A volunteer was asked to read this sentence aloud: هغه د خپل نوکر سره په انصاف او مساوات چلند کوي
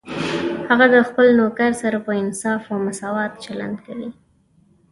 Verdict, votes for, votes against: accepted, 3, 0